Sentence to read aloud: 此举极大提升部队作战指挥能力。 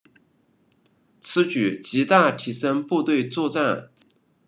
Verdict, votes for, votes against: rejected, 0, 2